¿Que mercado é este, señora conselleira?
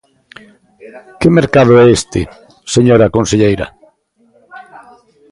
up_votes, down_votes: 2, 1